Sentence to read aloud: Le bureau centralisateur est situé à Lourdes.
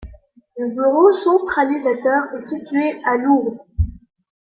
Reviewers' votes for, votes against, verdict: 2, 3, rejected